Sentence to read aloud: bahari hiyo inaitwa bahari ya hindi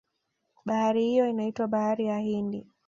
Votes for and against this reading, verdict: 2, 0, accepted